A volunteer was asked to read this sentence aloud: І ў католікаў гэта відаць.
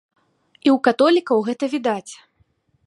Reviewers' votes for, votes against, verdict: 2, 0, accepted